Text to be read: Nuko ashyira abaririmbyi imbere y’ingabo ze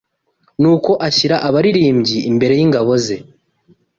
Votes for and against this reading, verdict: 2, 0, accepted